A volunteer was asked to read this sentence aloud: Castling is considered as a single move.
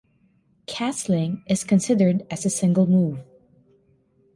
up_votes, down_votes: 2, 0